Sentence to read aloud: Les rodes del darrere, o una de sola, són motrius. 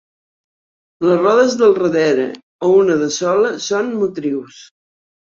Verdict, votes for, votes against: accepted, 2, 1